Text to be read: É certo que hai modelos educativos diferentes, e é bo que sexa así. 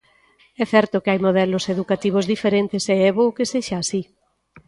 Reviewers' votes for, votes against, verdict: 2, 0, accepted